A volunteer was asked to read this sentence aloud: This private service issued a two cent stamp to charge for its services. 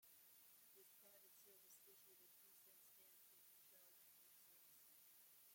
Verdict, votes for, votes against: rejected, 0, 2